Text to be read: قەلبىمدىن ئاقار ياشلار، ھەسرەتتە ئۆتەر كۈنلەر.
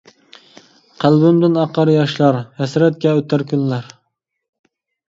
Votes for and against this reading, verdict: 1, 2, rejected